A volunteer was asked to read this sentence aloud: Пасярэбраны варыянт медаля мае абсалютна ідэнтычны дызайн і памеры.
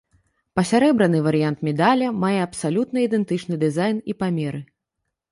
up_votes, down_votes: 1, 2